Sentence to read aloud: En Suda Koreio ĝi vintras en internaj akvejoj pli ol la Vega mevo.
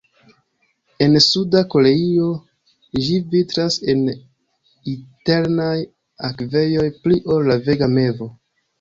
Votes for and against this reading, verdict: 0, 2, rejected